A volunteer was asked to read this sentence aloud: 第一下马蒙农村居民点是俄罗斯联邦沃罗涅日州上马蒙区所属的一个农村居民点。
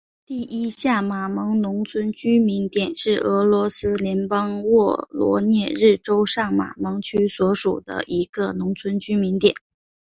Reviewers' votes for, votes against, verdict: 5, 1, accepted